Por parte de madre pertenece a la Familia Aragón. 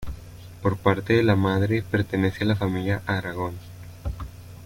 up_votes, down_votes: 0, 2